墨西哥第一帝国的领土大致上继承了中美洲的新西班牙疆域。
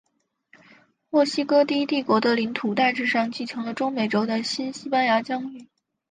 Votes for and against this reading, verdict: 3, 2, accepted